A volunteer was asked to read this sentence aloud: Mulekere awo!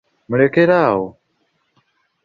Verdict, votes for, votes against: accepted, 2, 0